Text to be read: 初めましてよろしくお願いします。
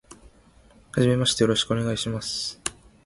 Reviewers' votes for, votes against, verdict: 2, 0, accepted